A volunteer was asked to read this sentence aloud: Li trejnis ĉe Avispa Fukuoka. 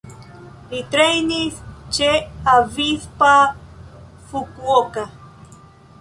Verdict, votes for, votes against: accepted, 2, 0